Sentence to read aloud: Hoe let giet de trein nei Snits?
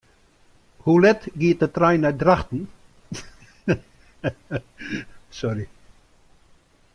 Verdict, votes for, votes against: rejected, 0, 2